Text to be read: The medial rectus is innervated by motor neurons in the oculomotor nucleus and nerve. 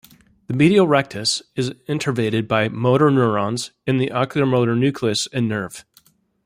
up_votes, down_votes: 0, 2